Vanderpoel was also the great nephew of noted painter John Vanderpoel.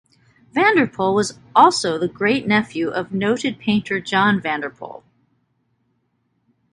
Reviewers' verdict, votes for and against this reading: accepted, 2, 0